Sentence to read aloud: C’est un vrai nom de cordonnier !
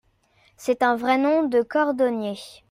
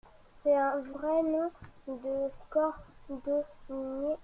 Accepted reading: first